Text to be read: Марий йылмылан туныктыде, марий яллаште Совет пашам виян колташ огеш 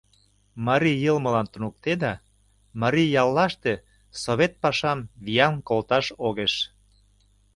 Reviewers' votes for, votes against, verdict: 0, 2, rejected